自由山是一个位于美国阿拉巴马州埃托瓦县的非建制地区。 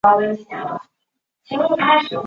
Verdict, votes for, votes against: rejected, 0, 2